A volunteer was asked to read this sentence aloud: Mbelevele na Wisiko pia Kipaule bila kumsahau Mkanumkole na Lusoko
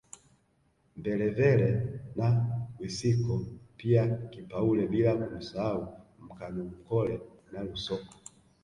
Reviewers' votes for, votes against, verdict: 1, 2, rejected